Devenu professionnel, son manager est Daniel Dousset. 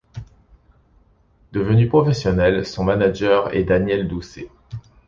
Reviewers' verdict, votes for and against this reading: accepted, 2, 0